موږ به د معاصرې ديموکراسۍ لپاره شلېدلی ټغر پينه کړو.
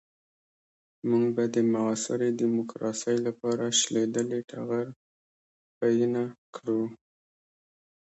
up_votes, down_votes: 2, 0